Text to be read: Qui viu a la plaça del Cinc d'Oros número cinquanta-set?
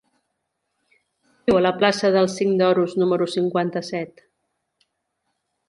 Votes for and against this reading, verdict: 1, 2, rejected